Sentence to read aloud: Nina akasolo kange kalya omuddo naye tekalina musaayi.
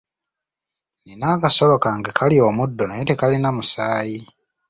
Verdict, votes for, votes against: rejected, 0, 2